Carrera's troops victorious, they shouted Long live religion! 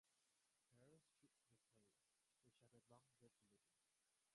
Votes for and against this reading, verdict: 0, 2, rejected